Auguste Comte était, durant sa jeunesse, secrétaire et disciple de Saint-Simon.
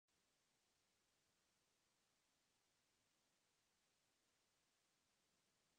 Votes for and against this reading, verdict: 0, 2, rejected